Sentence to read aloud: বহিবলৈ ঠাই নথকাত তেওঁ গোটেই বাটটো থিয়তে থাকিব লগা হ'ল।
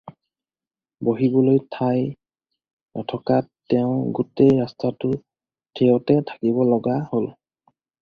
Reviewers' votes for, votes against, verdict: 0, 4, rejected